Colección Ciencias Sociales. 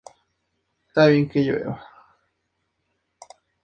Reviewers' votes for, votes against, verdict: 0, 2, rejected